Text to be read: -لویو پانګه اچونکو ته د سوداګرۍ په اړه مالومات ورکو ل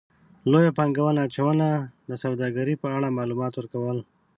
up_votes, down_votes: 1, 2